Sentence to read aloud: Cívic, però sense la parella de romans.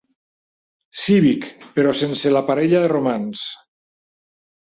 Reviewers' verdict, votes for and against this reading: accepted, 3, 0